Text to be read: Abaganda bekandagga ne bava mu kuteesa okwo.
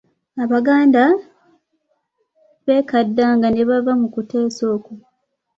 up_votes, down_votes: 0, 2